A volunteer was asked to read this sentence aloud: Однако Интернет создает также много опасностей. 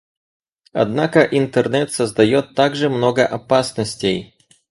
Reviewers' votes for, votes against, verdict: 4, 0, accepted